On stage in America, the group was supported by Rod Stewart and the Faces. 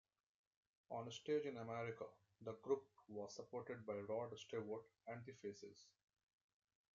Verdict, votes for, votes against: accepted, 2, 0